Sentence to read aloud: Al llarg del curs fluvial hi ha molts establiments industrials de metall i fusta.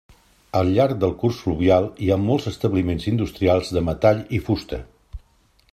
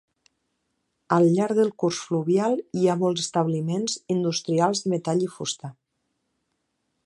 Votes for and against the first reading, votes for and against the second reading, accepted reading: 3, 0, 0, 2, first